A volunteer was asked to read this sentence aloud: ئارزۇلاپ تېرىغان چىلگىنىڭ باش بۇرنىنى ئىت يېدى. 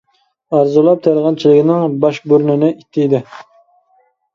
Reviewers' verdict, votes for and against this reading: rejected, 1, 2